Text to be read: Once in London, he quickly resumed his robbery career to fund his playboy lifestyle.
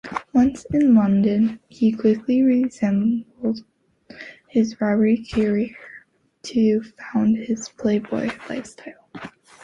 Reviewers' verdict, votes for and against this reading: rejected, 0, 2